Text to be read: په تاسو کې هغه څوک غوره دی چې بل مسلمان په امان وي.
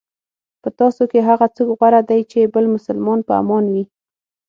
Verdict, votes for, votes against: accepted, 6, 0